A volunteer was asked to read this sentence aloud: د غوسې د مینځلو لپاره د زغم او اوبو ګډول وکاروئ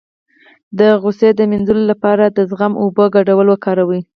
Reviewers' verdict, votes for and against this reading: accepted, 4, 0